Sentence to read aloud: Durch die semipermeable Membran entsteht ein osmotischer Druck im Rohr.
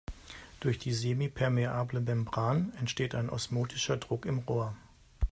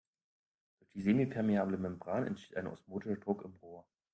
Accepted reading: first